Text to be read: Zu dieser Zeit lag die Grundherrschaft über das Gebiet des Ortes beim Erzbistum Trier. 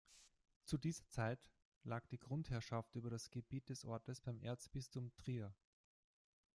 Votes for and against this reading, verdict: 1, 2, rejected